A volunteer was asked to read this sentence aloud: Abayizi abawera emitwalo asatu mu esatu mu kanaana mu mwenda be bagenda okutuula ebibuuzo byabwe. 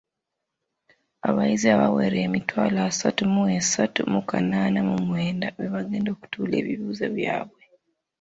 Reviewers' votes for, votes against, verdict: 2, 0, accepted